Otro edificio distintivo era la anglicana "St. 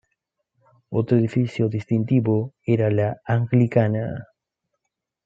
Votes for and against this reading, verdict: 1, 2, rejected